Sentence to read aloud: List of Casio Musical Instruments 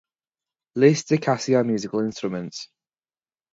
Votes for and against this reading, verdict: 0, 2, rejected